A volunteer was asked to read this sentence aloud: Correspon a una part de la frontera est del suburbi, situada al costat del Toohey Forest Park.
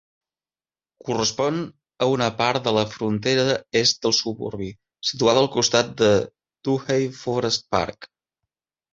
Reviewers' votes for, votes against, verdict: 0, 2, rejected